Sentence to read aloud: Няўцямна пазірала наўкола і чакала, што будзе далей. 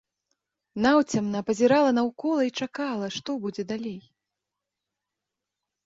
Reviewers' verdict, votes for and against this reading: rejected, 1, 3